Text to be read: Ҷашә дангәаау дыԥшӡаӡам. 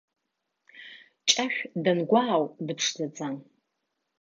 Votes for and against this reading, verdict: 2, 0, accepted